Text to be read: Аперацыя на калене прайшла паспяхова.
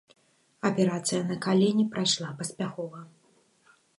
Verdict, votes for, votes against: accepted, 2, 0